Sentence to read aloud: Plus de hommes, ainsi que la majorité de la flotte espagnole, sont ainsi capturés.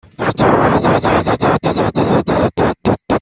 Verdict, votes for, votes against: rejected, 0, 2